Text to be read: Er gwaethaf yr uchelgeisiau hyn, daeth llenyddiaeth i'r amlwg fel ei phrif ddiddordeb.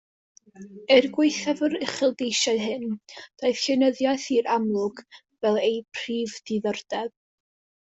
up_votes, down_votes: 0, 2